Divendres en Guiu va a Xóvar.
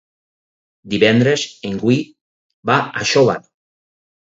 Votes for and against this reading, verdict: 0, 6, rejected